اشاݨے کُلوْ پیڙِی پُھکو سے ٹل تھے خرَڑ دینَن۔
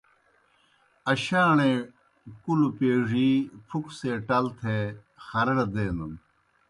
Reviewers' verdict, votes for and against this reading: accepted, 2, 0